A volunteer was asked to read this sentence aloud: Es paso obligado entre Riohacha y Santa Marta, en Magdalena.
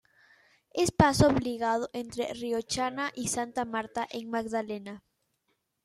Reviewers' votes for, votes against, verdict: 1, 2, rejected